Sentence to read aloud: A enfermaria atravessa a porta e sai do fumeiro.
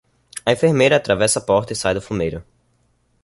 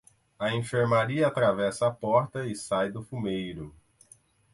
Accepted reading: second